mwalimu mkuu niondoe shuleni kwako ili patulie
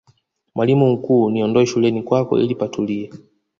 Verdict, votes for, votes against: accepted, 2, 0